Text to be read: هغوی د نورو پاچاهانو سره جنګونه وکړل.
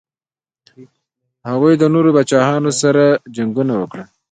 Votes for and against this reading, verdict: 1, 2, rejected